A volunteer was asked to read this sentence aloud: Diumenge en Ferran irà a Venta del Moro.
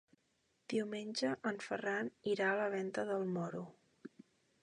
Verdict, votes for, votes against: rejected, 0, 2